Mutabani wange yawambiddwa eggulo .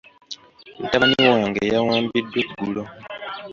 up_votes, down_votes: 2, 0